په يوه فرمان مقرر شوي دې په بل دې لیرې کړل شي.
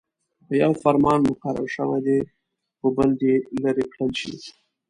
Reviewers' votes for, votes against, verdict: 2, 0, accepted